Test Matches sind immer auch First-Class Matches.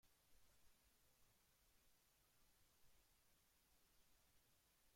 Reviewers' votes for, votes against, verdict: 0, 2, rejected